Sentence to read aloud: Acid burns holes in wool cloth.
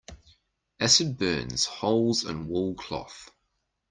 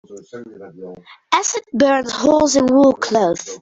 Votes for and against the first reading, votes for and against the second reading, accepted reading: 2, 0, 0, 2, first